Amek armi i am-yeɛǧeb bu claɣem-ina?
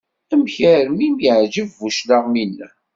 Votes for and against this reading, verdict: 2, 0, accepted